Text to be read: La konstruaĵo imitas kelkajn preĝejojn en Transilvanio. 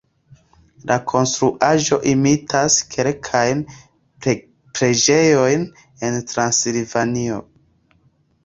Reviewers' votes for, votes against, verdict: 2, 0, accepted